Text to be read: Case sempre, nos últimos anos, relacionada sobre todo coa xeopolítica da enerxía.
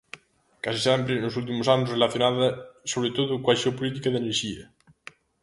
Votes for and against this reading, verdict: 2, 0, accepted